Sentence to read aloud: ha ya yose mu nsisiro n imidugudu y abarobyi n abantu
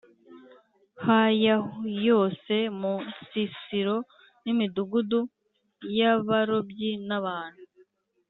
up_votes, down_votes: 2, 1